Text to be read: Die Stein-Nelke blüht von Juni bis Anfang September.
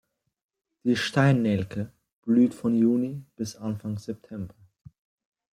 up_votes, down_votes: 2, 0